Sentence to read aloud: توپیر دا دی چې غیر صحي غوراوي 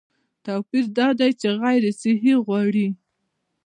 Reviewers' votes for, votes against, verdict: 1, 2, rejected